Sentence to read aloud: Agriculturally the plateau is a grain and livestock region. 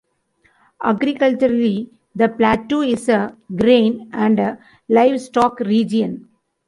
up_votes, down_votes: 1, 2